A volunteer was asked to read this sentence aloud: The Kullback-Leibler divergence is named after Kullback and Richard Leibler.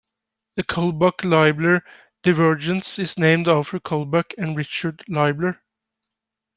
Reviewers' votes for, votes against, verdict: 2, 0, accepted